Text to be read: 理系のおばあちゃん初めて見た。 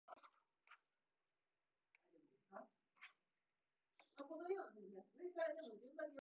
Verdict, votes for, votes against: rejected, 0, 3